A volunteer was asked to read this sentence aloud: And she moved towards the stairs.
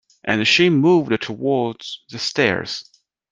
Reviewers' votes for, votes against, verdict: 2, 0, accepted